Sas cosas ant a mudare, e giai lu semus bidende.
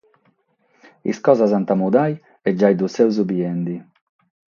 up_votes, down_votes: 6, 0